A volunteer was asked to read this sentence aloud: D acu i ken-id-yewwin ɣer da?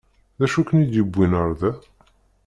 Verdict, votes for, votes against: accepted, 2, 0